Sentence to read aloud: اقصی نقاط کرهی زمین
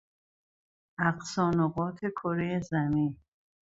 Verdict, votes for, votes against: accepted, 2, 0